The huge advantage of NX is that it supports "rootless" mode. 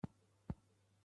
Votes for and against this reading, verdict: 0, 2, rejected